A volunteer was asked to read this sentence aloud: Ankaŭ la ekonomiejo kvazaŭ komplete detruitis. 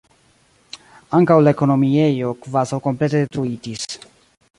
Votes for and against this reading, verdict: 0, 2, rejected